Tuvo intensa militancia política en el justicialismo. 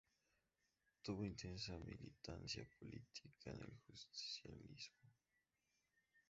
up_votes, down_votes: 2, 2